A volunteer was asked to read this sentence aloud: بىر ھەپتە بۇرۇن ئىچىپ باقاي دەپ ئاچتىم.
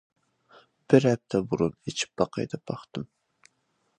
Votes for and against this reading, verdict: 0, 2, rejected